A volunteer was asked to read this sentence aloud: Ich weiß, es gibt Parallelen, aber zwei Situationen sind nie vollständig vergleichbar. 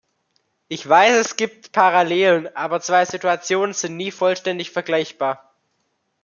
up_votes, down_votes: 2, 0